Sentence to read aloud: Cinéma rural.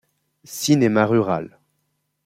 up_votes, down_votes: 2, 0